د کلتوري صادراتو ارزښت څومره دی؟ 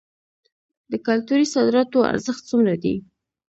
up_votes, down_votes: 2, 0